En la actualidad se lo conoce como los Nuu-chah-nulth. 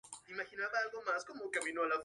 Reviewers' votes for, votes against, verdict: 0, 4, rejected